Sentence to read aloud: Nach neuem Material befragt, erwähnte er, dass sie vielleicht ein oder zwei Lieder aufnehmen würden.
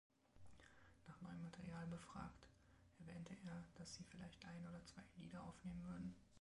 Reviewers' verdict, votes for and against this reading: rejected, 0, 2